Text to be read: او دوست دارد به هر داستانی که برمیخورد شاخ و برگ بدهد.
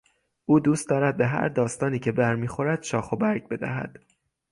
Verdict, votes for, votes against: accepted, 6, 0